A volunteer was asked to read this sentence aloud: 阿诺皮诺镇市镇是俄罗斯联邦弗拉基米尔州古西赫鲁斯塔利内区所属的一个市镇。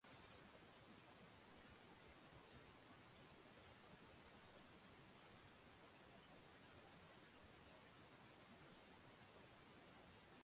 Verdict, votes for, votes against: rejected, 0, 2